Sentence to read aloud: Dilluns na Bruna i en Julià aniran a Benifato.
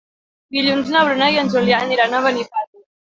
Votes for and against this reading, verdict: 0, 2, rejected